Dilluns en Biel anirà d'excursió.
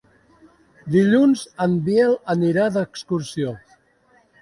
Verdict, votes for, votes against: accepted, 2, 1